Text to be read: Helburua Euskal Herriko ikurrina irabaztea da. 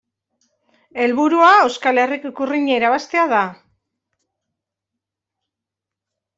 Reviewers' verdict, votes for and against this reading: accepted, 2, 0